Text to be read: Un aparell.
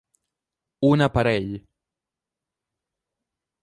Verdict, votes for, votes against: accepted, 3, 0